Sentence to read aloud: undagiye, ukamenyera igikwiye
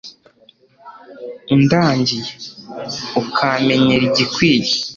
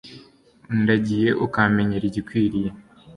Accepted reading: second